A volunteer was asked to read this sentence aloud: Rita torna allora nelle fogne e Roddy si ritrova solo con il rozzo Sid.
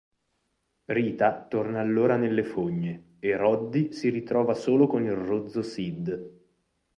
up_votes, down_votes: 4, 0